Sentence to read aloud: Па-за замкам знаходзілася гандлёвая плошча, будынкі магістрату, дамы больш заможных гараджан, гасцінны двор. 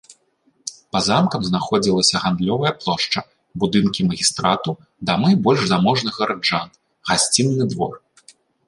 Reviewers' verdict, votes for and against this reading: rejected, 1, 2